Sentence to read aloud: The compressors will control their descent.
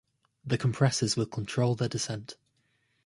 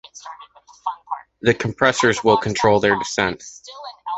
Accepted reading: first